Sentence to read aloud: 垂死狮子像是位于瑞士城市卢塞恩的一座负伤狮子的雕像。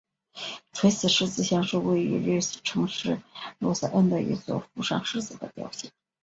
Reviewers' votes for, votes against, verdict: 2, 0, accepted